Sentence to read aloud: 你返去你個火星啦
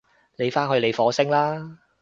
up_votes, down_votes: 0, 2